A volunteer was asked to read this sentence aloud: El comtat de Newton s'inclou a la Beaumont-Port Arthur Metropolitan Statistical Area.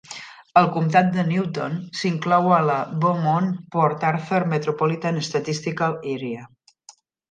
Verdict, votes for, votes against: accepted, 2, 0